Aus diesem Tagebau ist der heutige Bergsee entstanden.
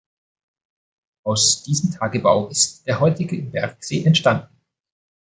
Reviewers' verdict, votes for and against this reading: accepted, 2, 0